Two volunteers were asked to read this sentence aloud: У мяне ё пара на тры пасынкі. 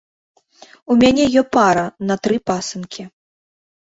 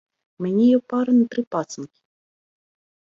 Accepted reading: first